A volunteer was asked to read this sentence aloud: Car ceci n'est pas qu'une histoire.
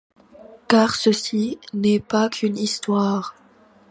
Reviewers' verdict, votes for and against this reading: accepted, 2, 0